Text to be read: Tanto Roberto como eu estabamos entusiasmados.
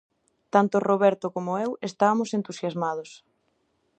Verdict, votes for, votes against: rejected, 0, 2